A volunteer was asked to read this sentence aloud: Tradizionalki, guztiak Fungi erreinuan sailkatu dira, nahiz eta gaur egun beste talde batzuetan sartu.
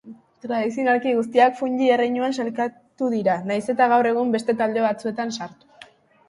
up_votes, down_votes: 3, 0